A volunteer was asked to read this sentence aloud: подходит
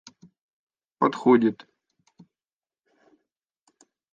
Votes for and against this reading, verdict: 3, 0, accepted